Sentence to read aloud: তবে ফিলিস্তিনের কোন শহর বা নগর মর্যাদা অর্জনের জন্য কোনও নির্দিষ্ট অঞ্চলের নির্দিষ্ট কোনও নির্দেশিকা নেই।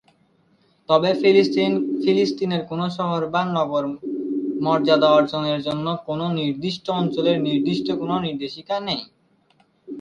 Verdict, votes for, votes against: rejected, 0, 3